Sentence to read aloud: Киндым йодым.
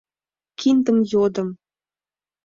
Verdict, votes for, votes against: accepted, 2, 0